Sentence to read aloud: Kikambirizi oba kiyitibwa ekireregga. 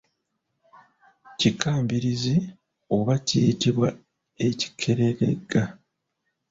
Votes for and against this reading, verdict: 1, 2, rejected